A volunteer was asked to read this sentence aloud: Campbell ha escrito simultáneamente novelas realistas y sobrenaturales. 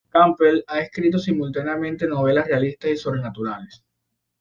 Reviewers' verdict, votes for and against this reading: accepted, 2, 0